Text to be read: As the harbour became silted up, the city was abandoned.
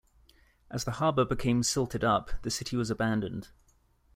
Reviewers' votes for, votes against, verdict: 2, 1, accepted